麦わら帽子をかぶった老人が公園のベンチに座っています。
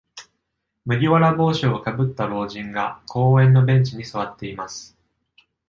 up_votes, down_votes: 2, 0